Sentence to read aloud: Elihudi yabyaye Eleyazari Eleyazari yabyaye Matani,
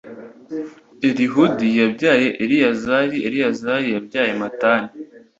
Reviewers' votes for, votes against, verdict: 2, 0, accepted